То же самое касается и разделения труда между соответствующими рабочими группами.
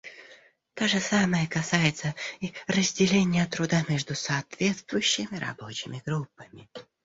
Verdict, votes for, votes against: rejected, 0, 2